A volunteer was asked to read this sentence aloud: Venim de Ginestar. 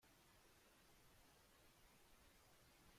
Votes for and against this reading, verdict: 0, 2, rejected